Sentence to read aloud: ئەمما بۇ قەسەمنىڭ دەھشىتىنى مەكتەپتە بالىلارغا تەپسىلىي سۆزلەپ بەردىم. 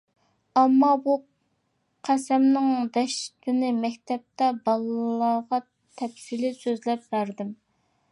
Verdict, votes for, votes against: rejected, 1, 2